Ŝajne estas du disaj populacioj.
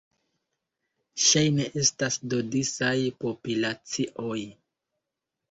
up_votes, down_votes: 0, 2